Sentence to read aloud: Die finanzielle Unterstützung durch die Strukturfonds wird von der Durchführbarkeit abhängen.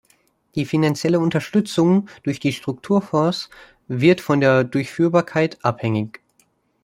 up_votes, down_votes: 1, 2